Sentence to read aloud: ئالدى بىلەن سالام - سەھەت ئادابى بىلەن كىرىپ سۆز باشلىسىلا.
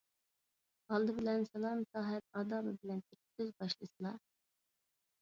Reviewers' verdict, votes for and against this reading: accepted, 2, 1